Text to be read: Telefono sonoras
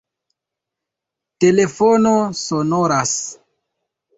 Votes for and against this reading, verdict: 2, 1, accepted